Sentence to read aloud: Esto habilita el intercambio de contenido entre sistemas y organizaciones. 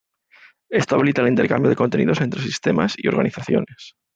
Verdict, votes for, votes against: accepted, 2, 1